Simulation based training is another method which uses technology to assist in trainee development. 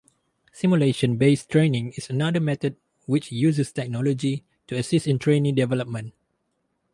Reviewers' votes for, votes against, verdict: 2, 0, accepted